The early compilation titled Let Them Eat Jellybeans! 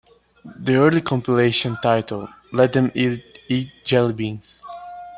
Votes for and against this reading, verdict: 0, 3, rejected